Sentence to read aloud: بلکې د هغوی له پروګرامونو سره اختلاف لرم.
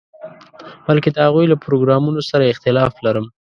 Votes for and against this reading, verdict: 2, 0, accepted